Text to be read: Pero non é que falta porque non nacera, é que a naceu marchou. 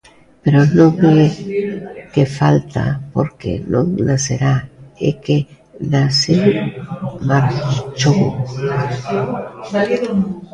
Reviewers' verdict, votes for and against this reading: rejected, 0, 2